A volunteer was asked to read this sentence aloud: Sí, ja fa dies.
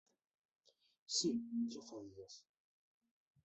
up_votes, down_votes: 0, 2